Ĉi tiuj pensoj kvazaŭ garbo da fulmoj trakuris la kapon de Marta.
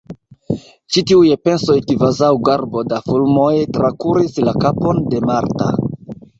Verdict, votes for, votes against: rejected, 0, 2